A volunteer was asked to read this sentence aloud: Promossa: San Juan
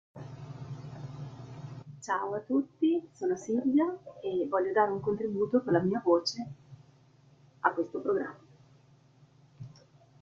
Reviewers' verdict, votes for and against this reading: rejected, 0, 2